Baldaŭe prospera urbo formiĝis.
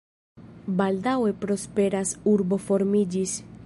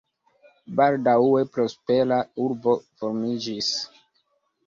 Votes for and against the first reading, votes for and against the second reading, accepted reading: 1, 2, 2, 0, second